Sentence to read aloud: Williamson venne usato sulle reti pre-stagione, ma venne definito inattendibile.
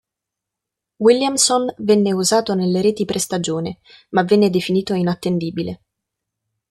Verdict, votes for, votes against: rejected, 1, 2